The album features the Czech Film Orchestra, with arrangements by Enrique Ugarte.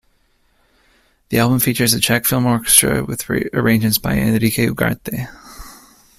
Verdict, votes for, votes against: rejected, 1, 2